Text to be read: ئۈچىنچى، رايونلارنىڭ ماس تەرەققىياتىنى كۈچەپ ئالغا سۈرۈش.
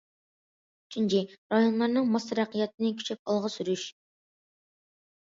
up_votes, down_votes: 1, 2